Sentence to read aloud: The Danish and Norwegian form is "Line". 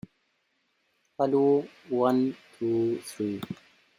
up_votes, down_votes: 0, 2